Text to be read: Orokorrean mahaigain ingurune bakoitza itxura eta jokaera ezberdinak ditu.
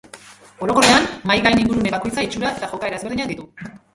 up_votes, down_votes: 0, 2